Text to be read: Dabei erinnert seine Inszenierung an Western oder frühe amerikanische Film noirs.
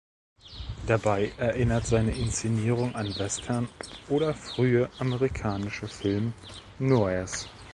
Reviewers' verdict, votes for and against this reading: rejected, 0, 2